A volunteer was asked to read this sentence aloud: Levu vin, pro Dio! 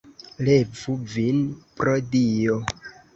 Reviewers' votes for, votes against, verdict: 2, 0, accepted